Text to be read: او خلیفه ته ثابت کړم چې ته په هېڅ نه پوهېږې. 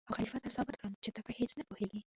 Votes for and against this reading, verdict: 1, 2, rejected